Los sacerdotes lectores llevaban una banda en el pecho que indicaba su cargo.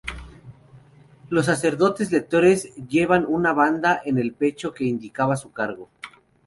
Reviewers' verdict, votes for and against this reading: rejected, 0, 2